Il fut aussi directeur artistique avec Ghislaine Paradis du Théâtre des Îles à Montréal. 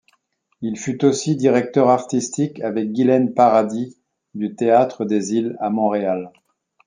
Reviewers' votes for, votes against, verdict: 2, 1, accepted